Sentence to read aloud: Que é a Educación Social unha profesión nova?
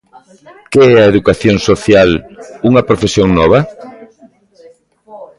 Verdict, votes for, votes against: accepted, 2, 0